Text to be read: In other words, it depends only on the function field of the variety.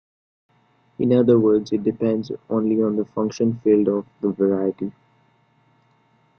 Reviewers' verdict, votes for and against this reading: accepted, 2, 0